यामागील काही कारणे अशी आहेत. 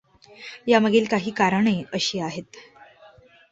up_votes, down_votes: 1, 2